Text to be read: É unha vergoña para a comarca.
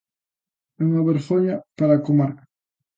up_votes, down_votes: 3, 0